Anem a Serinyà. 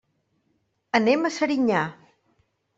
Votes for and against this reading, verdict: 3, 0, accepted